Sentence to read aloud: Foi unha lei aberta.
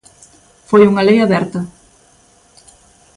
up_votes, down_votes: 2, 0